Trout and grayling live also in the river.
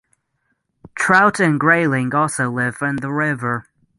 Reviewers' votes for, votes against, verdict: 0, 6, rejected